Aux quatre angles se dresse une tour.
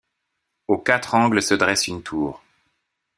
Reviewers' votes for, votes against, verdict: 2, 0, accepted